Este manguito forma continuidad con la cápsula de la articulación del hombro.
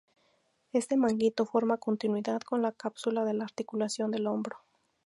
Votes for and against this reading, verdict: 2, 0, accepted